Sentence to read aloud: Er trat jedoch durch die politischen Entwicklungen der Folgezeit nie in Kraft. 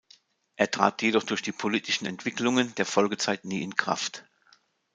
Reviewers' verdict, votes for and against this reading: accepted, 2, 0